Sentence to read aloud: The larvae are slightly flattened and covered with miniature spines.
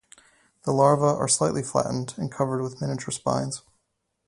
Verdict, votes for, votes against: rejected, 2, 2